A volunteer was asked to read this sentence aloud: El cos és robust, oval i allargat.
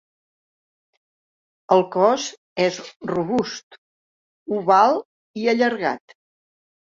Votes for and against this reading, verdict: 3, 0, accepted